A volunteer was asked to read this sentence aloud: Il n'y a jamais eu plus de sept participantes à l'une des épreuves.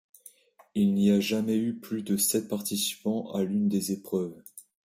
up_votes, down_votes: 1, 2